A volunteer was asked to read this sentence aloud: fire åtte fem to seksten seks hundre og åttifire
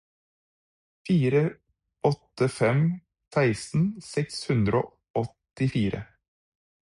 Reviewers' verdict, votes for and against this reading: rejected, 0, 4